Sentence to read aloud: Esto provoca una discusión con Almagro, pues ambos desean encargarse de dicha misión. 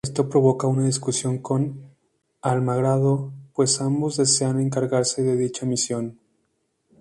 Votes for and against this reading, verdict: 0, 2, rejected